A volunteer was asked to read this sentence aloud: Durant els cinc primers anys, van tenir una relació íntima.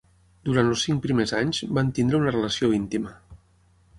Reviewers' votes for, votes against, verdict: 6, 0, accepted